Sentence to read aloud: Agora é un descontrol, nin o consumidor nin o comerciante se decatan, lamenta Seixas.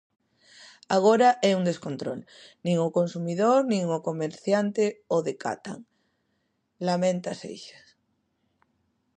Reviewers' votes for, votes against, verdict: 0, 2, rejected